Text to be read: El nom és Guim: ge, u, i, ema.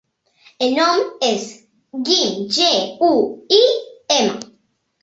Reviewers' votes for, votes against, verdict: 2, 0, accepted